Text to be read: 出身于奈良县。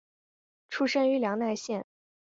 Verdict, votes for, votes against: rejected, 1, 2